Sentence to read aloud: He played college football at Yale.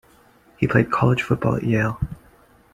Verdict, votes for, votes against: accepted, 2, 0